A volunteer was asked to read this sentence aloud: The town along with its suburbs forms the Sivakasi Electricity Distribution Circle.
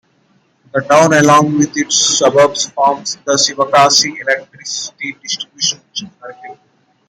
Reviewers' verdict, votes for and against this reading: accepted, 2, 0